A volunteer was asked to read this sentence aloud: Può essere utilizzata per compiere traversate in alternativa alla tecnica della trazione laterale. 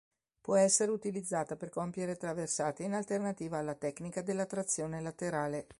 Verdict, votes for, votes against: accepted, 2, 0